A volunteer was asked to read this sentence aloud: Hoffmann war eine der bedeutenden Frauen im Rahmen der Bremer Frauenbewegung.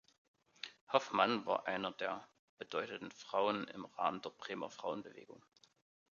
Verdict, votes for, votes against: rejected, 0, 2